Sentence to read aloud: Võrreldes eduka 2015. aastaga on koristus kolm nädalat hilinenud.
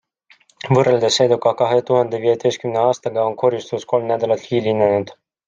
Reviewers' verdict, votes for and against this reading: rejected, 0, 2